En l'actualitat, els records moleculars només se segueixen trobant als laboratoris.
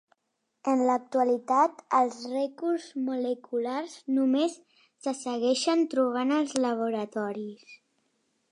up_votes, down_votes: 0, 2